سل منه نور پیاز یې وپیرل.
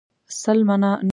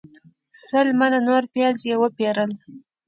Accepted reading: second